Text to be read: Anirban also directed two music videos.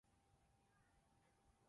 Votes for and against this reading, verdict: 0, 4, rejected